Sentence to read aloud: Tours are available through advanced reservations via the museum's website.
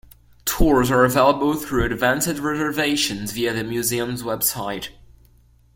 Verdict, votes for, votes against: rejected, 0, 2